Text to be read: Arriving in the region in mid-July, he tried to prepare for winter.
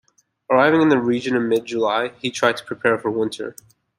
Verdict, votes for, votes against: accepted, 2, 0